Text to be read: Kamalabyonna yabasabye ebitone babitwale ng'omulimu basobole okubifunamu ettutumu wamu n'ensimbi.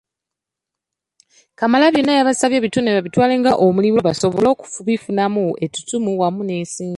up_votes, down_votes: 1, 2